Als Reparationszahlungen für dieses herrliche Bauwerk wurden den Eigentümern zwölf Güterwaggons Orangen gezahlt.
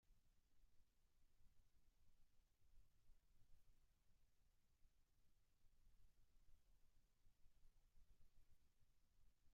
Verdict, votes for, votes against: rejected, 0, 2